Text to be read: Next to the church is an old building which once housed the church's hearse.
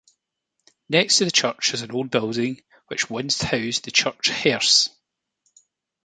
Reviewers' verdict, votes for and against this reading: rejected, 0, 2